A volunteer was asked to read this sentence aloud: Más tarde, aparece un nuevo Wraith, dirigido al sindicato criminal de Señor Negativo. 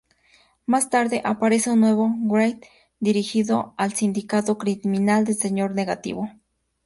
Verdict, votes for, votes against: rejected, 0, 2